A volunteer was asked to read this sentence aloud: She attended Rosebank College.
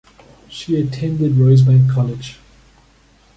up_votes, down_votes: 2, 0